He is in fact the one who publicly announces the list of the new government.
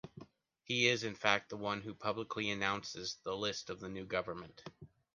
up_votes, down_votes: 2, 0